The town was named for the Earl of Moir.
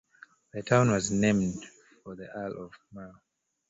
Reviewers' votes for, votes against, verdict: 0, 2, rejected